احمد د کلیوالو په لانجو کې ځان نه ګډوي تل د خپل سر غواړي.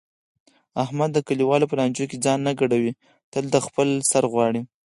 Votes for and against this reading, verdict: 2, 4, rejected